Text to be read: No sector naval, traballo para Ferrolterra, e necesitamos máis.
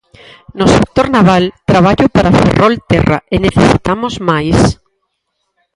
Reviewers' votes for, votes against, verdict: 0, 4, rejected